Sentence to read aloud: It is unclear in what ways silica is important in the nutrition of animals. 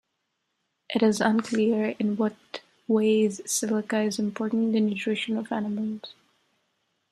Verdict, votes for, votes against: accepted, 2, 0